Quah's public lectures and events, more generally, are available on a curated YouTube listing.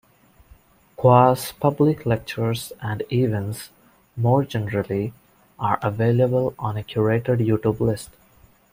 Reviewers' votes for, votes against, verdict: 1, 2, rejected